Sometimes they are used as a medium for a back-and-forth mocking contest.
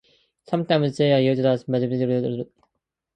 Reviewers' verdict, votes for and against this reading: rejected, 0, 2